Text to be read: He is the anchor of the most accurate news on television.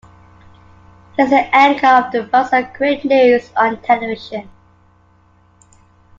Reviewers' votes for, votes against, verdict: 2, 1, accepted